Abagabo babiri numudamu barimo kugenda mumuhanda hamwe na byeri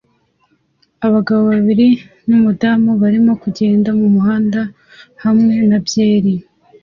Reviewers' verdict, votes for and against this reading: accepted, 2, 0